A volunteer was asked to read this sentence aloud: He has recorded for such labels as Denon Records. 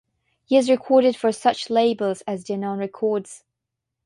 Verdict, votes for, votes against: rejected, 3, 3